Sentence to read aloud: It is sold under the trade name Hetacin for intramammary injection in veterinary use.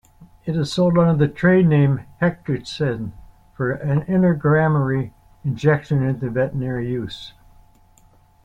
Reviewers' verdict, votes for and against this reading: rejected, 0, 2